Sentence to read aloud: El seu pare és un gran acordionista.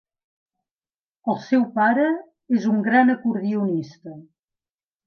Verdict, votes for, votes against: accepted, 3, 0